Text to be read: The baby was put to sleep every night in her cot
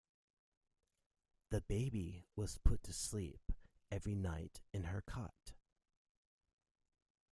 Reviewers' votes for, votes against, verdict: 2, 1, accepted